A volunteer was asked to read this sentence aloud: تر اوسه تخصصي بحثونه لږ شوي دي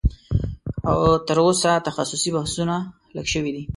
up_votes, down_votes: 0, 2